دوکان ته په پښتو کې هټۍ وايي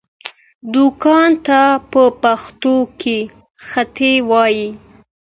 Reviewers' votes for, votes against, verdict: 2, 0, accepted